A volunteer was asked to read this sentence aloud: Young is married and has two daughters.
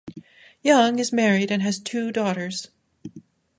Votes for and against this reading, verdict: 2, 0, accepted